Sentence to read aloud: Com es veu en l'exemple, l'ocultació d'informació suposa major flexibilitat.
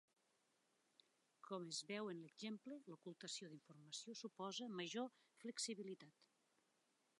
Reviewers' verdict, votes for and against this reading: rejected, 0, 2